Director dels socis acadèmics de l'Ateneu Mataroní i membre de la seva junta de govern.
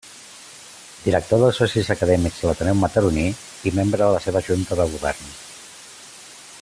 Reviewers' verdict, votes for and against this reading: accepted, 2, 0